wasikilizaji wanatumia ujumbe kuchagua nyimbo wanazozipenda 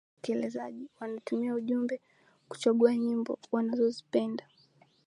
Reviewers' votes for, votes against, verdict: 2, 0, accepted